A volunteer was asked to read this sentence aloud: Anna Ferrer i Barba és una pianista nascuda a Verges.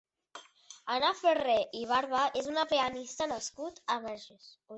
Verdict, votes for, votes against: rejected, 0, 2